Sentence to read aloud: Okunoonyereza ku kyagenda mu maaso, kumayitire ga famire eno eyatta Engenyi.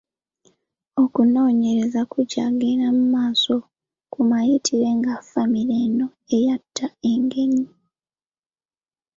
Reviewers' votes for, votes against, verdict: 2, 1, accepted